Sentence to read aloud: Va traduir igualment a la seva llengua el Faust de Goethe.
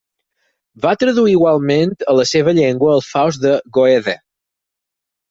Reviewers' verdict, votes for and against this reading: rejected, 2, 4